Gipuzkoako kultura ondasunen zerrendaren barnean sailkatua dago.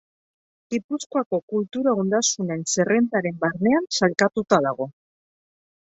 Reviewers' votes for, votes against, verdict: 0, 2, rejected